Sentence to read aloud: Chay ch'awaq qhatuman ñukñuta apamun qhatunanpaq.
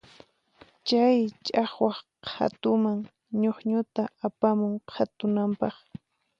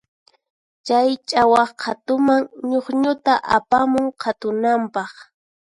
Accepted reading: second